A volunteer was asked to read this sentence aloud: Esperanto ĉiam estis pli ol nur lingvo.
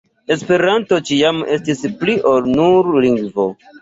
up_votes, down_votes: 3, 0